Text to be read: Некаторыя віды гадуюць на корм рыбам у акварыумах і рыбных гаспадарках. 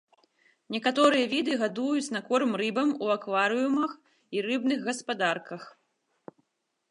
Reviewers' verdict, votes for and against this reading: accepted, 4, 0